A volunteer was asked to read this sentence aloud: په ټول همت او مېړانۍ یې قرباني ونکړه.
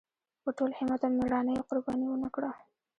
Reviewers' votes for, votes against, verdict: 2, 1, accepted